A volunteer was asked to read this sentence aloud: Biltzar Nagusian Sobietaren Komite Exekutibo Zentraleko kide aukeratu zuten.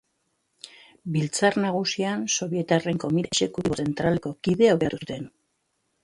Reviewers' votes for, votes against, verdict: 0, 2, rejected